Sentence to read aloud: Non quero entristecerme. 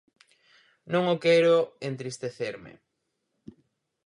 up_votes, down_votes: 2, 4